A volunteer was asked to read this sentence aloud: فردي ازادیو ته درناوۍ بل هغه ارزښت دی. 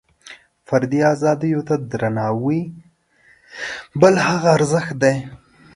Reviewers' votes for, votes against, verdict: 0, 2, rejected